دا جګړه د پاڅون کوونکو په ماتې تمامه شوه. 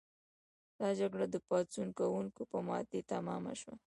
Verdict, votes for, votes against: accepted, 2, 0